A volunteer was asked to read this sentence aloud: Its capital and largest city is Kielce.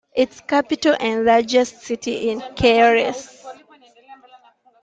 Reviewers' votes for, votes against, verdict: 2, 0, accepted